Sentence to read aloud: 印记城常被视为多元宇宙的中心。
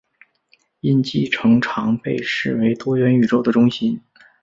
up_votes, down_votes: 2, 0